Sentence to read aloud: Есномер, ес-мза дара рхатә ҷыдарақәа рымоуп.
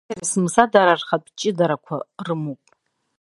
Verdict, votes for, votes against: rejected, 0, 2